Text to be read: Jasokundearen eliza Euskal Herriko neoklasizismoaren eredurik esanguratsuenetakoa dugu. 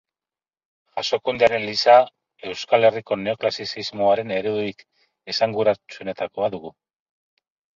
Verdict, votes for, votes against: rejected, 0, 6